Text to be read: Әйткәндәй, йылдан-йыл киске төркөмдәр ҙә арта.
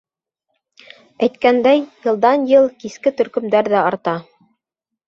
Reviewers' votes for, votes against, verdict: 2, 0, accepted